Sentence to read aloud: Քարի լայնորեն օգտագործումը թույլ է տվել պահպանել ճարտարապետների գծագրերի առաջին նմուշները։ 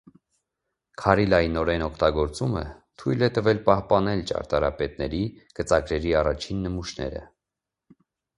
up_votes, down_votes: 2, 0